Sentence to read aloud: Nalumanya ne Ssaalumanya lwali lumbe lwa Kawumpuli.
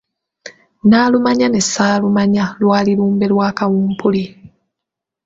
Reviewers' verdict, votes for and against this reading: accepted, 2, 0